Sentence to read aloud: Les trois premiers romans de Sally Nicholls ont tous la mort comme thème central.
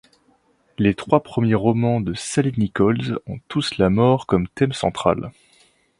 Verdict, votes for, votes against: accepted, 2, 0